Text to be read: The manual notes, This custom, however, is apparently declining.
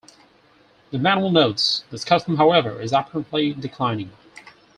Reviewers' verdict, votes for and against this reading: rejected, 2, 4